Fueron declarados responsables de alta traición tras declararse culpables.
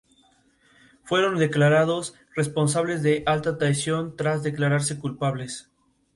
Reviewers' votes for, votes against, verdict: 2, 0, accepted